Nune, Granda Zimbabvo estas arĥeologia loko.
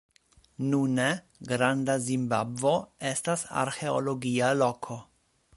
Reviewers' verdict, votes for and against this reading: accepted, 2, 0